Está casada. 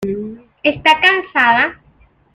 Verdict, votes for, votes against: rejected, 1, 2